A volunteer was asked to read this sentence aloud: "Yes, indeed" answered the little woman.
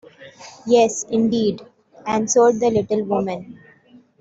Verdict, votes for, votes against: accepted, 2, 1